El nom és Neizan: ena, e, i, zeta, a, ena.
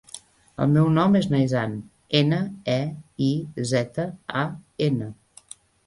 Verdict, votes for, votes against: rejected, 1, 2